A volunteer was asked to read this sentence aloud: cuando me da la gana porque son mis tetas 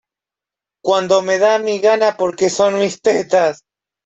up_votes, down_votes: 0, 2